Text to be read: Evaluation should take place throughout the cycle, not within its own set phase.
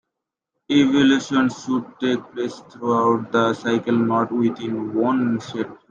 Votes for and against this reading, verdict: 0, 2, rejected